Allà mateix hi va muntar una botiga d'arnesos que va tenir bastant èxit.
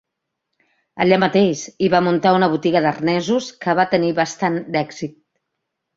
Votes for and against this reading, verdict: 1, 2, rejected